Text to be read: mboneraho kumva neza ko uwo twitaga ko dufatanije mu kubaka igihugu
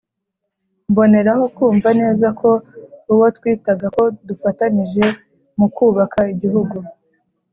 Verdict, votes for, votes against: accepted, 2, 0